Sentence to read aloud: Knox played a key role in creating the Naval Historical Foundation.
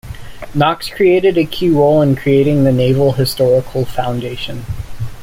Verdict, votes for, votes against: rejected, 1, 2